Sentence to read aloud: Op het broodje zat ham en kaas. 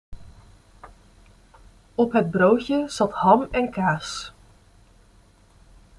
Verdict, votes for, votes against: accepted, 2, 0